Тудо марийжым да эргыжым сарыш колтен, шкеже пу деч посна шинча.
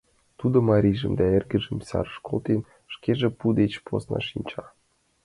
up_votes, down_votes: 2, 0